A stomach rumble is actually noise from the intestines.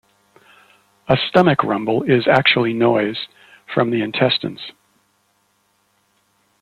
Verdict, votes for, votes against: accepted, 2, 0